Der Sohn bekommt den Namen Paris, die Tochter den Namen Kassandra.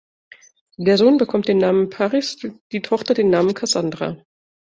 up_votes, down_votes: 1, 2